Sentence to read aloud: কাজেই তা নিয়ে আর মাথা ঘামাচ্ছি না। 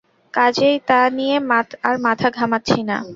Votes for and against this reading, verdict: 0, 2, rejected